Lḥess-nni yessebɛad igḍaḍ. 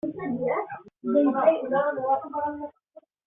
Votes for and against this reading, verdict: 0, 2, rejected